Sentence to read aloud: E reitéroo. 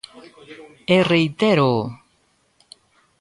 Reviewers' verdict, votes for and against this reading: rejected, 1, 2